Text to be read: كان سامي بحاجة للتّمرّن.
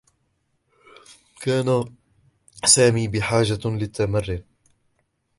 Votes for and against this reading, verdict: 0, 2, rejected